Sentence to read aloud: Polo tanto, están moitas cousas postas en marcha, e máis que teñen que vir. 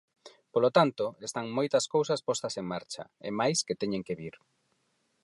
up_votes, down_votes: 4, 0